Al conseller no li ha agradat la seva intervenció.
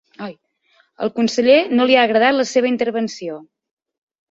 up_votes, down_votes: 1, 3